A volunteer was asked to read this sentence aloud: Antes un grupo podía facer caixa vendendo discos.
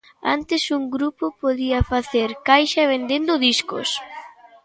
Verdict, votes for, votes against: rejected, 1, 2